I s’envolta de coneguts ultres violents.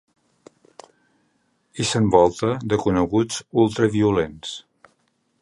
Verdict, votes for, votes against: rejected, 0, 2